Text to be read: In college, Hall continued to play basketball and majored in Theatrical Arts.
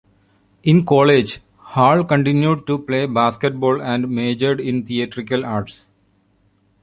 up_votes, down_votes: 2, 0